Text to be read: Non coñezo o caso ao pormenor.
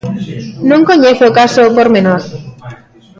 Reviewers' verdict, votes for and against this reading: rejected, 1, 2